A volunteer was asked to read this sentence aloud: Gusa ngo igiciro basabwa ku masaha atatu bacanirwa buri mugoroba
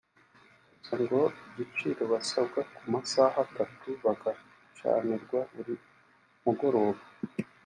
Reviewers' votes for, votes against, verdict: 1, 2, rejected